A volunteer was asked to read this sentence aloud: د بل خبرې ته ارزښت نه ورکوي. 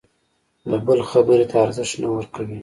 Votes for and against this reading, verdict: 3, 0, accepted